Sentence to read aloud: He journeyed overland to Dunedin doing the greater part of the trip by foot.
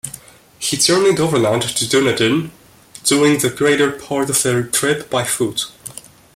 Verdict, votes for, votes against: accepted, 3, 1